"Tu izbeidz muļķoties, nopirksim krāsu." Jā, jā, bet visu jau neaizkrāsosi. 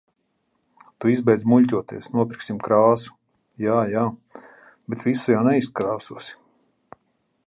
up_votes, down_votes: 0, 2